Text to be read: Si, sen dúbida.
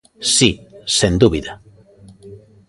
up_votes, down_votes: 2, 0